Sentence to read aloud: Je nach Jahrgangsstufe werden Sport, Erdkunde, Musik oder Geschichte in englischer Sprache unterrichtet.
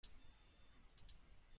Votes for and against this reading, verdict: 0, 2, rejected